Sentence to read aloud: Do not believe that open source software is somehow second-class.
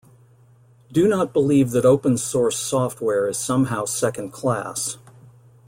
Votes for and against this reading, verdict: 3, 0, accepted